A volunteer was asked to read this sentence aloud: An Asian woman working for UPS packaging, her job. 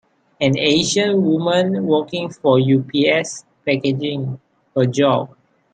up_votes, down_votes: 2, 0